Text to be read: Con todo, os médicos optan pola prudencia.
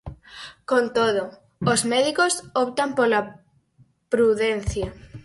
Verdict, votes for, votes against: accepted, 4, 2